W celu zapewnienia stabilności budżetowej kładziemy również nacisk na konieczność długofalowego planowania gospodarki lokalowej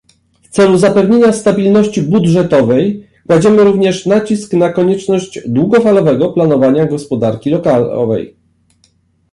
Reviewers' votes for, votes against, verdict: 1, 2, rejected